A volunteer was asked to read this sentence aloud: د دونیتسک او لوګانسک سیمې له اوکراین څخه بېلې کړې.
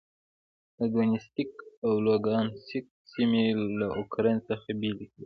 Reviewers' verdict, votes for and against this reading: accepted, 2, 0